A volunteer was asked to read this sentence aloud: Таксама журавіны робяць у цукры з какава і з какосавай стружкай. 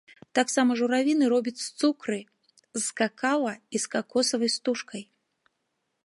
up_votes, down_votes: 1, 2